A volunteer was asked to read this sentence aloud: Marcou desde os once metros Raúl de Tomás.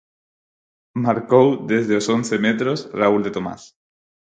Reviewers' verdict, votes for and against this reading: accepted, 4, 0